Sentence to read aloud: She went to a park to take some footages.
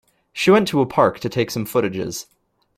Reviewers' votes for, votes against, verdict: 2, 0, accepted